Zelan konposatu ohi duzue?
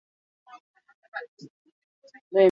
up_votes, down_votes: 0, 2